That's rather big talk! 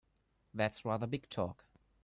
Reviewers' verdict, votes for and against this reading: accepted, 2, 0